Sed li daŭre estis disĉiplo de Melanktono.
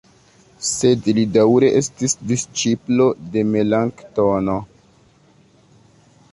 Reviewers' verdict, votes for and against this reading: rejected, 1, 2